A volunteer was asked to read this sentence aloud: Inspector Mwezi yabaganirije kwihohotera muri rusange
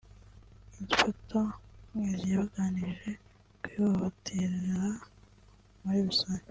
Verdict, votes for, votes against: rejected, 0, 2